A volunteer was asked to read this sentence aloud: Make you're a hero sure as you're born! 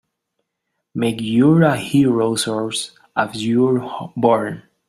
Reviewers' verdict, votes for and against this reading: rejected, 0, 2